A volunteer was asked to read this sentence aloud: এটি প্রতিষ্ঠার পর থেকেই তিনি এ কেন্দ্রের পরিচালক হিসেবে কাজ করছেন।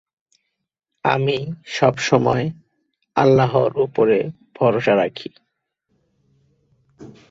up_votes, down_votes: 0, 3